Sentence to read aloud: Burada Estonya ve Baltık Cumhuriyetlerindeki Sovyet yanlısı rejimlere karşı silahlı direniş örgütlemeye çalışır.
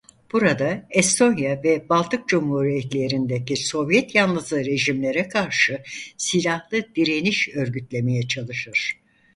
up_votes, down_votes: 4, 0